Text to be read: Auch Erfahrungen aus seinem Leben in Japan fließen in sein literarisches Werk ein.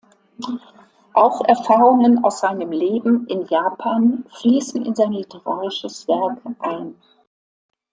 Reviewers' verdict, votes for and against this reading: accepted, 2, 0